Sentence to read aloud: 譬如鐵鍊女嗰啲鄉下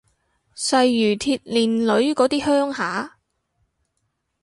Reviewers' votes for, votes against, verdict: 0, 6, rejected